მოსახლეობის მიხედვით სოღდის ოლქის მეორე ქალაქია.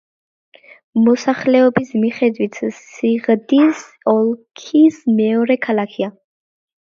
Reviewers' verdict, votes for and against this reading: rejected, 0, 2